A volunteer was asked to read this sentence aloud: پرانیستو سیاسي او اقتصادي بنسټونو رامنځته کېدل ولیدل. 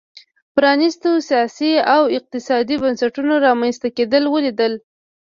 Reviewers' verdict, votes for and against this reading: accepted, 2, 0